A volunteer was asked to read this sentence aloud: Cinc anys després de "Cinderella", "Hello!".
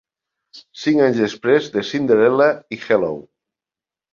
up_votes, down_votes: 2, 3